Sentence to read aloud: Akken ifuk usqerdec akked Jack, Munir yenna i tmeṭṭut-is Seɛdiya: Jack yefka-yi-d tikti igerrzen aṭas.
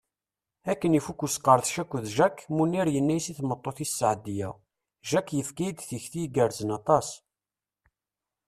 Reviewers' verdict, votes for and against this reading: accepted, 2, 0